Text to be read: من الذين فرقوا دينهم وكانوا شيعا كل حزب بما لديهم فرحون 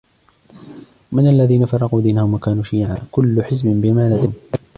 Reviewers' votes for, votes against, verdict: 1, 2, rejected